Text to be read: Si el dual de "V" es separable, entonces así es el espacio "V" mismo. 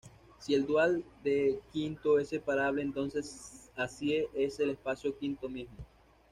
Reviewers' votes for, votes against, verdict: 1, 2, rejected